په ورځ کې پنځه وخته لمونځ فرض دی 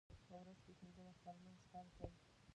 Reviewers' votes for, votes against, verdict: 1, 2, rejected